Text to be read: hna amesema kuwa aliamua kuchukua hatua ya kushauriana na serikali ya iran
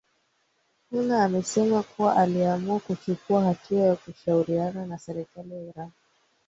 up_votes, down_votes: 2, 0